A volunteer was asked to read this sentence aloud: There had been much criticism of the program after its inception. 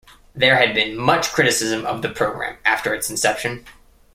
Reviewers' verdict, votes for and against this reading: rejected, 1, 2